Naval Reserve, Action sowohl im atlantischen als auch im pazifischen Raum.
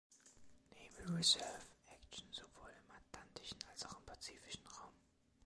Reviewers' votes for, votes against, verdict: 1, 2, rejected